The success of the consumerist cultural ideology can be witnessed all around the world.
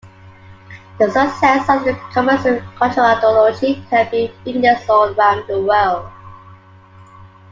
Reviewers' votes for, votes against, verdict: 0, 2, rejected